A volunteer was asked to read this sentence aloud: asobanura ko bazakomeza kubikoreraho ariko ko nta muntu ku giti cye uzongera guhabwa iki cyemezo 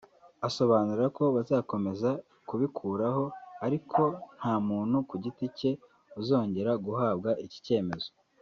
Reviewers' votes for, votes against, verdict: 3, 1, accepted